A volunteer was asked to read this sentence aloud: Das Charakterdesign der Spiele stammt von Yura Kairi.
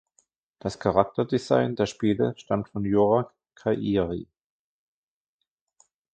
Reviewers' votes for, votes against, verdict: 2, 0, accepted